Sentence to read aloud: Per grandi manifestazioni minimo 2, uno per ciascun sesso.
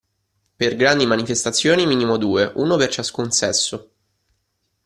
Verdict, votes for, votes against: rejected, 0, 2